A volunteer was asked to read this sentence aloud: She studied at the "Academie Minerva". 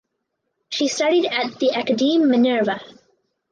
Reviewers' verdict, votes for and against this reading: accepted, 6, 4